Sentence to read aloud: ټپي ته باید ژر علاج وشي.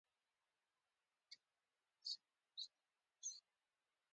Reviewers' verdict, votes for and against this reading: rejected, 0, 2